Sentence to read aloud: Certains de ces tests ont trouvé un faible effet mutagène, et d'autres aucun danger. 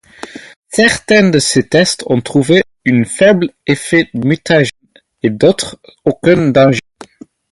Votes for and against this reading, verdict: 0, 4, rejected